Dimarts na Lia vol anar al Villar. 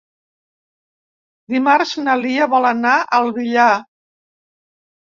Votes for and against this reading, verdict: 2, 0, accepted